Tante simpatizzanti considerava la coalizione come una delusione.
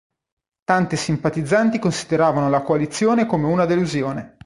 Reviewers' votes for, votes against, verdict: 2, 0, accepted